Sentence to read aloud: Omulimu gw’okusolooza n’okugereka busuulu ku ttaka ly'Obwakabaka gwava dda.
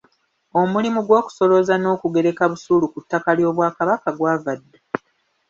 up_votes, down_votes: 0, 2